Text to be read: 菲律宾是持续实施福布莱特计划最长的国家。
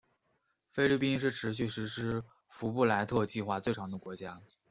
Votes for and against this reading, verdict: 0, 2, rejected